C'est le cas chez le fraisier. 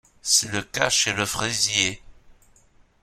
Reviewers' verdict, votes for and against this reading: accepted, 2, 0